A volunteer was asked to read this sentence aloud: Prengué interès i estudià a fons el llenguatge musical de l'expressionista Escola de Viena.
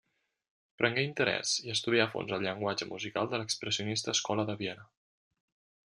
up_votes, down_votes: 2, 0